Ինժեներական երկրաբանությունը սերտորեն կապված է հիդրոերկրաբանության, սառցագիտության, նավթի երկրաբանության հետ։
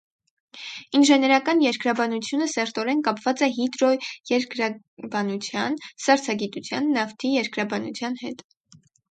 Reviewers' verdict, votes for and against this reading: rejected, 2, 2